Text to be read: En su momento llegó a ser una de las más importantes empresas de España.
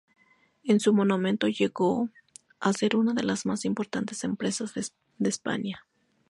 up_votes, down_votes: 0, 4